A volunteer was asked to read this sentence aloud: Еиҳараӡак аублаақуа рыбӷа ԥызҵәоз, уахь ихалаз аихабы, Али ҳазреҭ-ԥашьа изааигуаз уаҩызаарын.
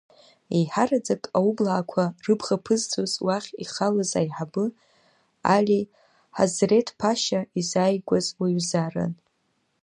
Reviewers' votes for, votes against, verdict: 1, 2, rejected